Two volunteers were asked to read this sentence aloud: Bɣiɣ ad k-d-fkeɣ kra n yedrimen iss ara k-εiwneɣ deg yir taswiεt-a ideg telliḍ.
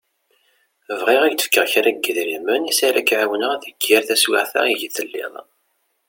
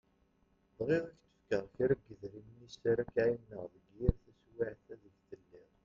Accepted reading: first